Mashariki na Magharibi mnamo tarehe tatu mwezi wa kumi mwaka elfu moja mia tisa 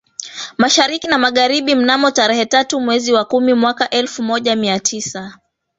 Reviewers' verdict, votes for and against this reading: rejected, 1, 2